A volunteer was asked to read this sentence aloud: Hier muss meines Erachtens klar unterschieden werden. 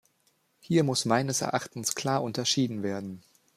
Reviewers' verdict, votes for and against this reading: accepted, 2, 0